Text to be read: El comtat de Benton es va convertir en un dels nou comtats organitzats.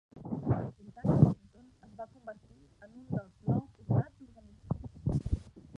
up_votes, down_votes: 0, 2